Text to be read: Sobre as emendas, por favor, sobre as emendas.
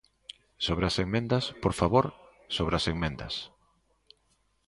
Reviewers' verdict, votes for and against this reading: rejected, 1, 2